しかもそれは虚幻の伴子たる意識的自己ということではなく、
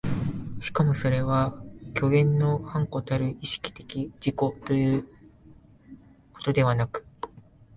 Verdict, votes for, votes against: accepted, 2, 0